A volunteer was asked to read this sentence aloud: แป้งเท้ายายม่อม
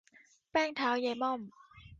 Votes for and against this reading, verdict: 3, 0, accepted